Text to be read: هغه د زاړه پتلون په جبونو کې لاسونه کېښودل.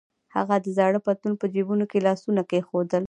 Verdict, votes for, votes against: accepted, 2, 0